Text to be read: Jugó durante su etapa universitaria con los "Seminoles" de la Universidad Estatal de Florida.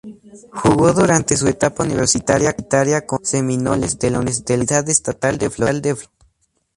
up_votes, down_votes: 0, 4